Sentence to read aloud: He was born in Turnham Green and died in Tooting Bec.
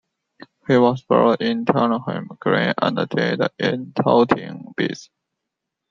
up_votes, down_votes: 0, 2